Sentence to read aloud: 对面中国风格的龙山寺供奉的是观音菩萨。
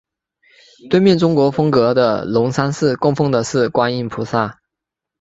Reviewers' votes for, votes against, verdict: 5, 1, accepted